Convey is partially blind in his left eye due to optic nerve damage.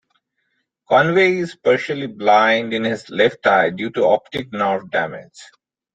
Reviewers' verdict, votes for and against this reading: accepted, 2, 1